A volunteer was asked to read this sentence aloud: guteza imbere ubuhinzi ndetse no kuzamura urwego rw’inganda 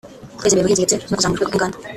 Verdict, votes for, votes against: rejected, 0, 2